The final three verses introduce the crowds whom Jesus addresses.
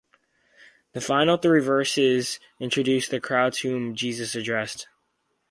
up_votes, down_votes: 0, 4